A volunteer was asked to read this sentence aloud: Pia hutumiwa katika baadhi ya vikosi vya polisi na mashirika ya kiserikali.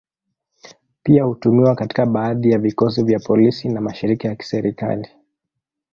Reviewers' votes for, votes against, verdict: 2, 1, accepted